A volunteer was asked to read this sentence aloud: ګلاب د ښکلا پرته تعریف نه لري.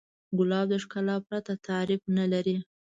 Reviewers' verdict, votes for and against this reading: rejected, 1, 2